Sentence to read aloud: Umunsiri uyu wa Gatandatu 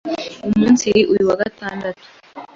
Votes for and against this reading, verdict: 2, 0, accepted